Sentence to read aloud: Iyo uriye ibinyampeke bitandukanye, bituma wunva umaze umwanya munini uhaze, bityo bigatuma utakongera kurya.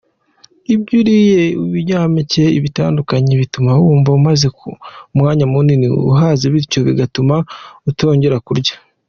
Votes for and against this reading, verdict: 0, 2, rejected